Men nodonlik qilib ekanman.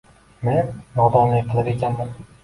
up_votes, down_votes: 0, 2